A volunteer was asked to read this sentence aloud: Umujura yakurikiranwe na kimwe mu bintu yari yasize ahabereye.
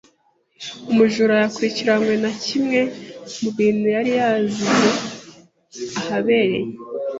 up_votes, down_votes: 1, 2